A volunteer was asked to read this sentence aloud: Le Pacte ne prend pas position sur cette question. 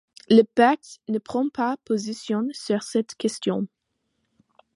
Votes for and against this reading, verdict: 2, 0, accepted